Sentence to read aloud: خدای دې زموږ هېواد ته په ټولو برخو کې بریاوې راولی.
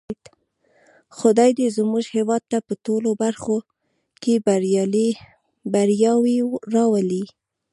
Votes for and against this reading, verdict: 1, 2, rejected